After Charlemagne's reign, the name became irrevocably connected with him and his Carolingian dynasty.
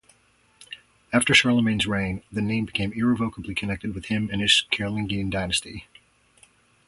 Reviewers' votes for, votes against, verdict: 0, 2, rejected